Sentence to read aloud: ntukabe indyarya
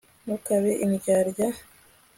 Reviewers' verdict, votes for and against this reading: accepted, 2, 0